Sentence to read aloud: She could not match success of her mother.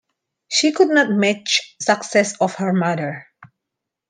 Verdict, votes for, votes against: accepted, 2, 1